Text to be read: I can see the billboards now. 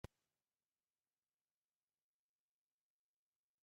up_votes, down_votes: 0, 2